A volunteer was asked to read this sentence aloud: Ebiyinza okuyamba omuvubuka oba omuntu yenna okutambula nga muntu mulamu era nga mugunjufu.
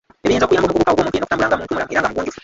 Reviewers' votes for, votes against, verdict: 0, 2, rejected